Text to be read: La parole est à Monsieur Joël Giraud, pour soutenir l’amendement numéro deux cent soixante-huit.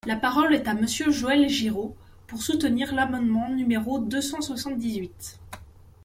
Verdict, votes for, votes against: rejected, 1, 2